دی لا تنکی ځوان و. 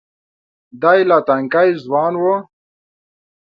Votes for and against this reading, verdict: 2, 0, accepted